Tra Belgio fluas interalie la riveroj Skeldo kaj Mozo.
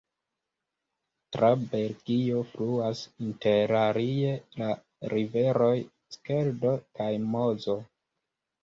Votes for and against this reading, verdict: 2, 1, accepted